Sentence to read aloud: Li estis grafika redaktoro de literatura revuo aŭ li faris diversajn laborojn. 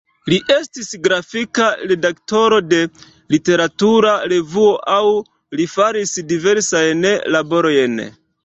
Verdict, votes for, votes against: rejected, 0, 3